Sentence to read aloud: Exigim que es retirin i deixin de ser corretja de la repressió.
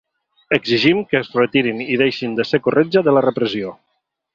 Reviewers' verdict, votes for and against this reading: accepted, 2, 0